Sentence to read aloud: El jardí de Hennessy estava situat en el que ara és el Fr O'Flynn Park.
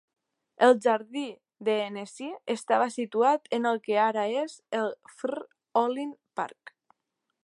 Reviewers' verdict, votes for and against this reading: rejected, 0, 2